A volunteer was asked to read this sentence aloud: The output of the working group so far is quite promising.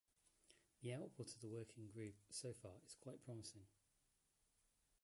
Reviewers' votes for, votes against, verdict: 2, 0, accepted